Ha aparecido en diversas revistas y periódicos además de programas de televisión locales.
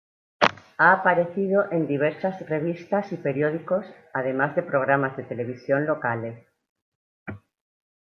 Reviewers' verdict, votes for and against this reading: accepted, 2, 0